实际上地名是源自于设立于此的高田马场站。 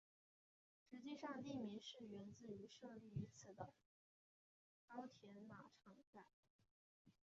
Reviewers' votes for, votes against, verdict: 0, 4, rejected